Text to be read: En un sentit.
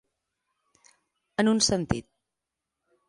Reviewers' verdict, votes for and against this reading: accepted, 2, 0